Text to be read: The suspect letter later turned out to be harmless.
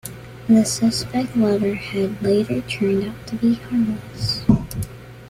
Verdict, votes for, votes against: rejected, 0, 2